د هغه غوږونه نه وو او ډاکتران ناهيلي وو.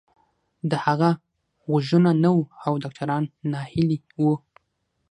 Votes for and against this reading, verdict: 3, 6, rejected